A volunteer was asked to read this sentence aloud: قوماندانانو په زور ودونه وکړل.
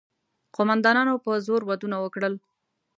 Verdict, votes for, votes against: accepted, 2, 0